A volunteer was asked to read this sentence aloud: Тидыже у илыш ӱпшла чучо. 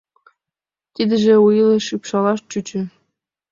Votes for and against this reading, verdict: 1, 3, rejected